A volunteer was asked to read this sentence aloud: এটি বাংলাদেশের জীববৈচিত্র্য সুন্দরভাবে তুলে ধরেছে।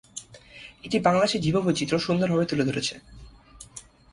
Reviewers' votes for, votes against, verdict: 0, 2, rejected